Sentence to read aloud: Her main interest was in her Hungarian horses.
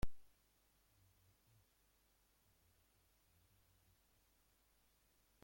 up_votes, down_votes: 0, 2